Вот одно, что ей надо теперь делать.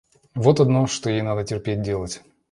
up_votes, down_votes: 0, 2